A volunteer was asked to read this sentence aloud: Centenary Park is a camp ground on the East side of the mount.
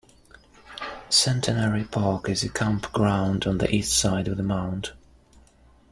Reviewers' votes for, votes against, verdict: 2, 0, accepted